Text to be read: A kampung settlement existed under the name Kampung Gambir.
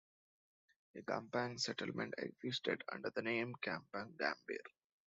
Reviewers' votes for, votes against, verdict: 2, 0, accepted